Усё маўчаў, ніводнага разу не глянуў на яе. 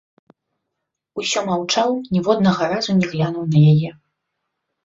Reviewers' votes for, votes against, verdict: 4, 0, accepted